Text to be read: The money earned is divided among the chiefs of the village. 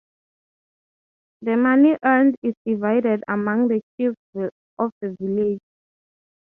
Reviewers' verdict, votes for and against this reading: accepted, 3, 0